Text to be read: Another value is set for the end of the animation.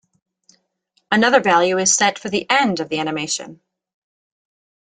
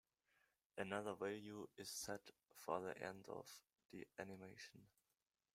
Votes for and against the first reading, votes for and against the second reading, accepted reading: 2, 0, 1, 2, first